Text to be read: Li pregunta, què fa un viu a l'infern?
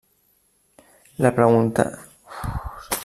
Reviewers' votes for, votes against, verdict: 0, 2, rejected